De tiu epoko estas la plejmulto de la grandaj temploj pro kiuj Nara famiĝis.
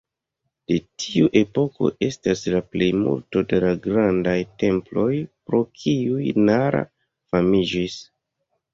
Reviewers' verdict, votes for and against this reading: rejected, 1, 2